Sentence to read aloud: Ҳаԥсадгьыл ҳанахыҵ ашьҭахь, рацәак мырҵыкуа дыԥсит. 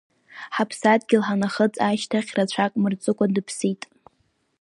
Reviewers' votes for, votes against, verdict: 5, 1, accepted